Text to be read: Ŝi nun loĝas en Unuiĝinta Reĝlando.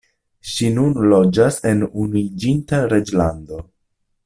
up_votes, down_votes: 0, 2